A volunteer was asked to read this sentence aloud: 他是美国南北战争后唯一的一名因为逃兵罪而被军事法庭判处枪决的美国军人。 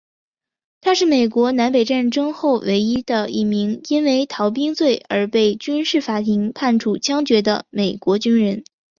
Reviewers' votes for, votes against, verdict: 3, 2, accepted